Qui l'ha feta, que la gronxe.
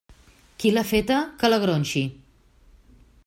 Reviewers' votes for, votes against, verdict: 1, 2, rejected